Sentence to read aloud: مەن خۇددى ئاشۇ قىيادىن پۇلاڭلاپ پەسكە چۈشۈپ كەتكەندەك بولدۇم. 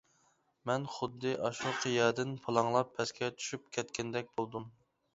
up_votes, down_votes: 2, 0